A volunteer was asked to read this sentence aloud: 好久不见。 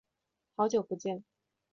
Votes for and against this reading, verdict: 3, 0, accepted